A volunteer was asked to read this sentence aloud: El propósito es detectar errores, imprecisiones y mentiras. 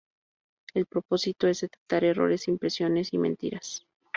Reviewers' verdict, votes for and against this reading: rejected, 0, 2